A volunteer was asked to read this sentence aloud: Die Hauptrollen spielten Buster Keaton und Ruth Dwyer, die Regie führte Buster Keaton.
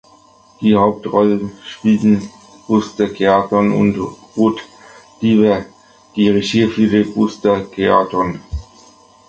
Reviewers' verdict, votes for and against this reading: rejected, 1, 2